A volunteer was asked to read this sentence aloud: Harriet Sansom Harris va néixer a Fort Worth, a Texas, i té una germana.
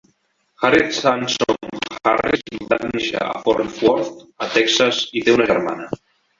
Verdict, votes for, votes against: rejected, 0, 2